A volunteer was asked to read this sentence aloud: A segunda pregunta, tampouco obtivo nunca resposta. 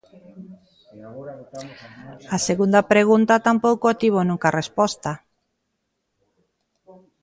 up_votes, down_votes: 2, 1